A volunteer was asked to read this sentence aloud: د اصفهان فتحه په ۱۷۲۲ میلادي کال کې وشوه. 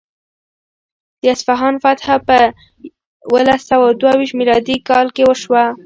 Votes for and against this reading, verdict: 0, 2, rejected